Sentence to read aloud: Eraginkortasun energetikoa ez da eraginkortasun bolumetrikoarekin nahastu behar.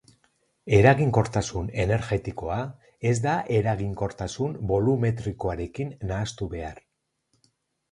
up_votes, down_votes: 2, 2